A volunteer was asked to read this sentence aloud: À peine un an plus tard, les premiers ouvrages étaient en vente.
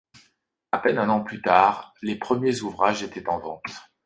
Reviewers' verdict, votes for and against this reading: accepted, 2, 0